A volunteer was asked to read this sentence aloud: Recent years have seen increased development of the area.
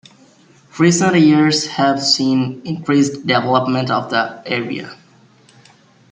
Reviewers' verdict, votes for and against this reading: accepted, 2, 0